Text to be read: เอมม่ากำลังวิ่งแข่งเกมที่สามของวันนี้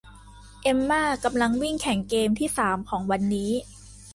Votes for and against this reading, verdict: 2, 0, accepted